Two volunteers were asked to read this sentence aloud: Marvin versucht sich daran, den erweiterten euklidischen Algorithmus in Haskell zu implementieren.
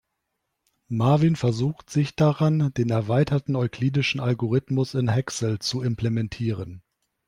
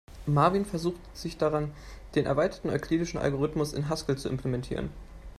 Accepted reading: second